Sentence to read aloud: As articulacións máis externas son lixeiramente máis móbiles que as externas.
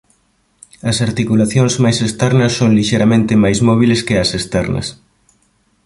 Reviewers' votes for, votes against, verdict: 2, 0, accepted